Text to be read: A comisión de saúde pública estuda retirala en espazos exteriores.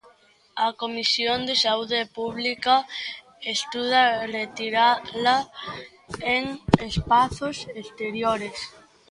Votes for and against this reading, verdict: 0, 2, rejected